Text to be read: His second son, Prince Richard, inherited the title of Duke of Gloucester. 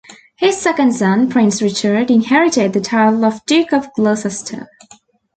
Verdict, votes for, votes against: rejected, 0, 2